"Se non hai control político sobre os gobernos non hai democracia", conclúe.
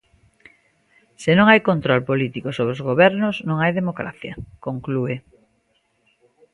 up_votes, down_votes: 2, 0